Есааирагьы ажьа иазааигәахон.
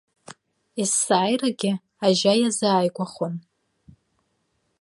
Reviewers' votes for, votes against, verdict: 2, 0, accepted